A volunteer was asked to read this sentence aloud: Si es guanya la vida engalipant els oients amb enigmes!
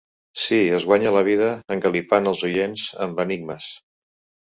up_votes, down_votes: 0, 2